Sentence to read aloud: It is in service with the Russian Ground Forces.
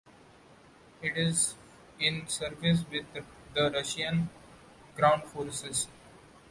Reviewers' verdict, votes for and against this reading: rejected, 0, 2